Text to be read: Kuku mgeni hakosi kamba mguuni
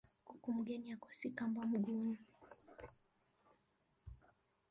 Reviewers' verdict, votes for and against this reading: rejected, 1, 2